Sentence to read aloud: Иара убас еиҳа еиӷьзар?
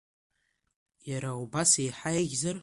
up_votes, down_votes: 2, 0